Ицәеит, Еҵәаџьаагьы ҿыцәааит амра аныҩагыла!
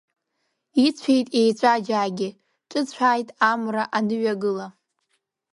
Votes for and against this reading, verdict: 2, 0, accepted